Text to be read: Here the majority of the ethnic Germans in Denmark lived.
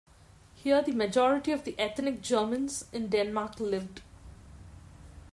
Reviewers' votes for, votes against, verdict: 2, 1, accepted